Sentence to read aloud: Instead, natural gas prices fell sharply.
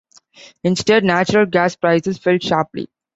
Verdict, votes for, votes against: accepted, 2, 0